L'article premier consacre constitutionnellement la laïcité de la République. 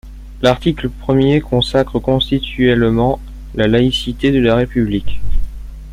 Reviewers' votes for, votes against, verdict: 0, 2, rejected